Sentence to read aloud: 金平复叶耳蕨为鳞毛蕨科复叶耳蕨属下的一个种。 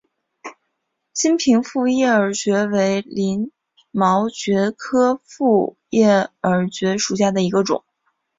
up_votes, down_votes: 3, 1